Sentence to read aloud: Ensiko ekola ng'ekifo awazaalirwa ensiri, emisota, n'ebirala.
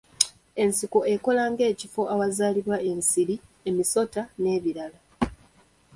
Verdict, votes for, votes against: accepted, 2, 0